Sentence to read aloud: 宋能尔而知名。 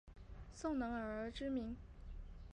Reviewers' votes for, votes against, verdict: 2, 4, rejected